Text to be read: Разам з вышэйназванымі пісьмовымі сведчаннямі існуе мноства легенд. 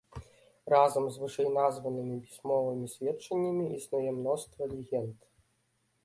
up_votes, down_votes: 1, 2